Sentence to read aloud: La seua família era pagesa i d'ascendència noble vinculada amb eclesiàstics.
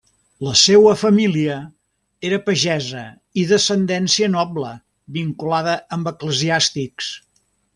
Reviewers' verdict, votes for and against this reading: accepted, 2, 0